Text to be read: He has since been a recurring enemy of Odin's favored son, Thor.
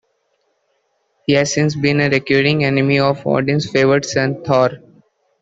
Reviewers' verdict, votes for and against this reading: accepted, 2, 0